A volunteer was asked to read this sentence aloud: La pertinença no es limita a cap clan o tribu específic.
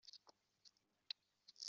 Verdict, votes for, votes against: rejected, 0, 2